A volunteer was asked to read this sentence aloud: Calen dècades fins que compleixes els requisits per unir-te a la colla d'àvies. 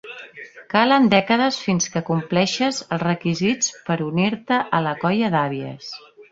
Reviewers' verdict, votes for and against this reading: accepted, 2, 0